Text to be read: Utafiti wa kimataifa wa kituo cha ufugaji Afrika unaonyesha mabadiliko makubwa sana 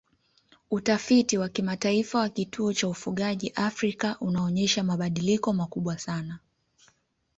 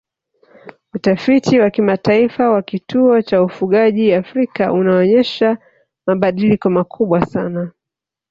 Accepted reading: first